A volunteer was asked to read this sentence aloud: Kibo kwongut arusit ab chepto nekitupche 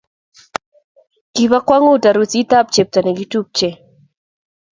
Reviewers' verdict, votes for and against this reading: accepted, 2, 0